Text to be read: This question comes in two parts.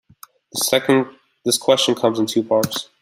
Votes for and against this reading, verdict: 1, 2, rejected